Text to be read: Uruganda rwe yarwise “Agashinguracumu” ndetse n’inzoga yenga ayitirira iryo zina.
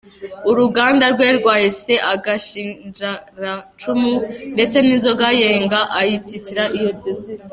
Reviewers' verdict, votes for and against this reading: rejected, 0, 2